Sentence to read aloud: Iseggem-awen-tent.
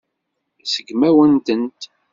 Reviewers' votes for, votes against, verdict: 0, 2, rejected